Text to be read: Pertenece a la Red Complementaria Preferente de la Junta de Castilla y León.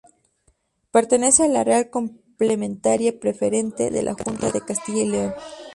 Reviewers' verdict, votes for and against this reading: rejected, 0, 4